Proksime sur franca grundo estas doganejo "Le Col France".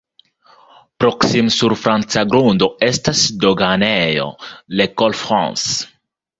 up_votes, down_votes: 2, 1